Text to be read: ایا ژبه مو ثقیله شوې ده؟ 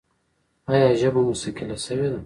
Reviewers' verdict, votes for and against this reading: rejected, 0, 2